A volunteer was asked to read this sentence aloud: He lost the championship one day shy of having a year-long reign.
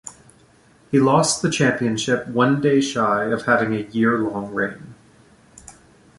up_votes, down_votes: 2, 0